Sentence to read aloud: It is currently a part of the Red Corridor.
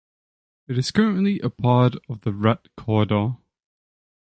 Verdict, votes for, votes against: accepted, 2, 0